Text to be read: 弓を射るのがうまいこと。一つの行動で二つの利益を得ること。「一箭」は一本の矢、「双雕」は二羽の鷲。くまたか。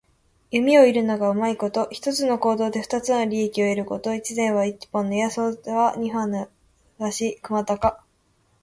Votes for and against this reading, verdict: 2, 0, accepted